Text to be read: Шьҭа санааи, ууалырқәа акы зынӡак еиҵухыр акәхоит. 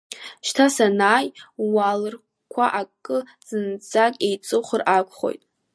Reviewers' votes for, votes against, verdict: 2, 1, accepted